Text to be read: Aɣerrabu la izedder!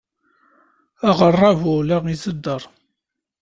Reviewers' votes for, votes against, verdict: 2, 0, accepted